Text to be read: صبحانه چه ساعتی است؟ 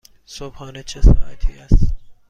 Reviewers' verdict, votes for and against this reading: accepted, 2, 0